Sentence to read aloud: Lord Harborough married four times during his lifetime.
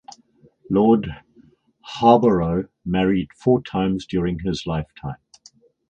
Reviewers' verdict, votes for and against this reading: accepted, 4, 0